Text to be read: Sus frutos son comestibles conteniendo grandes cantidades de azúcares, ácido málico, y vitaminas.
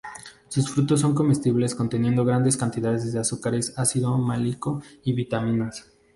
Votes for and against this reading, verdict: 2, 0, accepted